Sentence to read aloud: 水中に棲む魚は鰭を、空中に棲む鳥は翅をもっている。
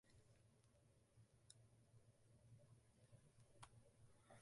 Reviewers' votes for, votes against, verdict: 0, 4, rejected